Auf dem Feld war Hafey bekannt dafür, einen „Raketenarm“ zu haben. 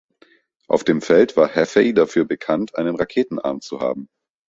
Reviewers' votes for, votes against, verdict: 2, 1, accepted